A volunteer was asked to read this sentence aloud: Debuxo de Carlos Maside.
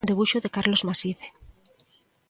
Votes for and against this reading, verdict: 2, 0, accepted